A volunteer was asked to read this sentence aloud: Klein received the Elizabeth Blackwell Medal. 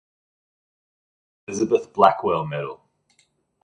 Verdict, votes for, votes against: rejected, 1, 2